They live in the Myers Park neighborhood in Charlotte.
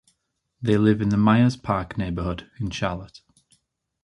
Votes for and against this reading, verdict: 2, 0, accepted